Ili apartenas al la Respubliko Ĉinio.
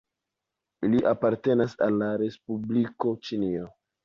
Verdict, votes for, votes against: accepted, 2, 0